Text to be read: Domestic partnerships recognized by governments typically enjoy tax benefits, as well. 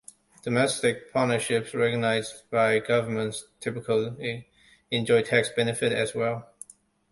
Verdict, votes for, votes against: rejected, 0, 2